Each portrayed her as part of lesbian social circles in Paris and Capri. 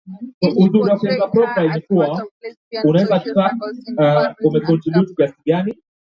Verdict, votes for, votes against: rejected, 0, 2